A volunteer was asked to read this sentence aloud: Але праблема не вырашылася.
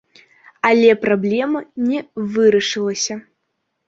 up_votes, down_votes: 2, 0